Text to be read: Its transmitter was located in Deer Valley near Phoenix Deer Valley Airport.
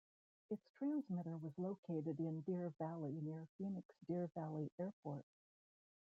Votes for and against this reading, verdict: 2, 1, accepted